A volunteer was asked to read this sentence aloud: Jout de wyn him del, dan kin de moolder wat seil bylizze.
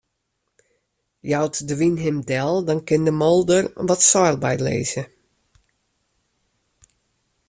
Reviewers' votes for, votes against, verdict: 2, 0, accepted